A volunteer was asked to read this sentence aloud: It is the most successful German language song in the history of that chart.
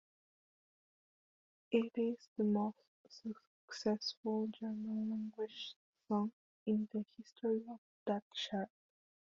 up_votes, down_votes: 0, 3